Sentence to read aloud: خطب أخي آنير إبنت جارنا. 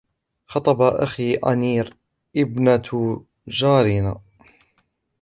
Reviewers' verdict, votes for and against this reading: rejected, 1, 2